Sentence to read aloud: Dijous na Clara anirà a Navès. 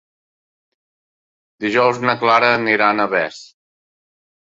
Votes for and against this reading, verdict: 5, 0, accepted